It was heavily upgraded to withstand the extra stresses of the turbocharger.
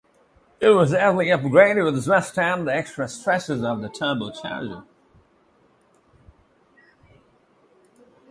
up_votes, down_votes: 2, 0